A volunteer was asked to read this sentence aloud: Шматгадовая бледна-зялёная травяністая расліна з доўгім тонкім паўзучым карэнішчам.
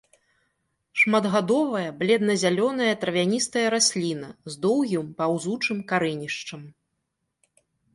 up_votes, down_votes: 0, 2